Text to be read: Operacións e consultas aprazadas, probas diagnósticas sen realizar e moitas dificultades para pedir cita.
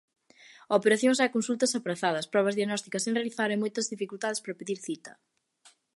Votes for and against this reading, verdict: 2, 0, accepted